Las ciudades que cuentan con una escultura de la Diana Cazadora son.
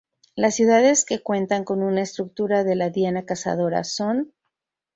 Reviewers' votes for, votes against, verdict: 2, 2, rejected